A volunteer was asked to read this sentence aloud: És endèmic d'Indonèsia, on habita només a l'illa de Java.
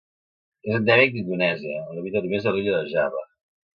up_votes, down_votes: 1, 2